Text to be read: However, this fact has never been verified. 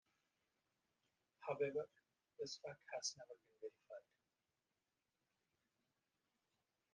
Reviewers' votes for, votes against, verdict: 1, 2, rejected